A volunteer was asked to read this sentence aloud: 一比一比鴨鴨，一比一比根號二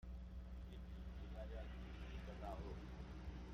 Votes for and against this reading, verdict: 0, 2, rejected